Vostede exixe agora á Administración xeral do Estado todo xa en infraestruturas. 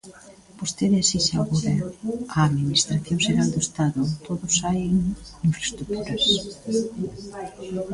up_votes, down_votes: 2, 1